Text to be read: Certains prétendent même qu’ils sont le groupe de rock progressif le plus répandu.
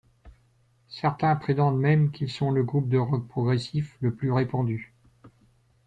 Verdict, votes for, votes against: rejected, 1, 2